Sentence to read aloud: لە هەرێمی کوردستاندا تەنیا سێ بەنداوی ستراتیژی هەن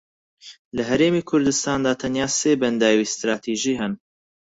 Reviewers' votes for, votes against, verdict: 6, 0, accepted